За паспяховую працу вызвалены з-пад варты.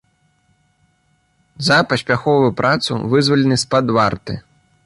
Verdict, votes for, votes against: rejected, 1, 2